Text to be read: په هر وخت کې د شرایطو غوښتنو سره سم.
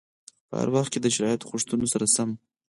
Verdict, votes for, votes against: accepted, 4, 2